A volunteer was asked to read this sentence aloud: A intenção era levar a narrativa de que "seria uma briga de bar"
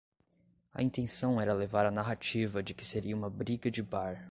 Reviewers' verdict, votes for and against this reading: accepted, 2, 0